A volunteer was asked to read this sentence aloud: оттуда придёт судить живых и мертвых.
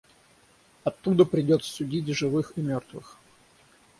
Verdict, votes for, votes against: rejected, 3, 3